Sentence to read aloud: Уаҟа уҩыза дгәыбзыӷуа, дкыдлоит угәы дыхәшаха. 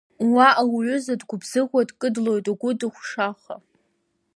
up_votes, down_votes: 2, 0